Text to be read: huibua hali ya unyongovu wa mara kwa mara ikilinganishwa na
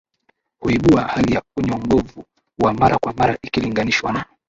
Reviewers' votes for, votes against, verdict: 1, 3, rejected